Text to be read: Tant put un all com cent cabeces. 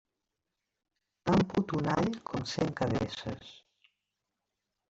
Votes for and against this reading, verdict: 1, 2, rejected